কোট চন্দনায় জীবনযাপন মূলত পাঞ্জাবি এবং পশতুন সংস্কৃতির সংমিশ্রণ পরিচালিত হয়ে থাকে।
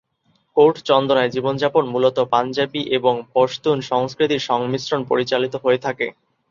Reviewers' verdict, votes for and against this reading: accepted, 2, 0